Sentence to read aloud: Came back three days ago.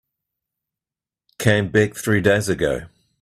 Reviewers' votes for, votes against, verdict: 2, 0, accepted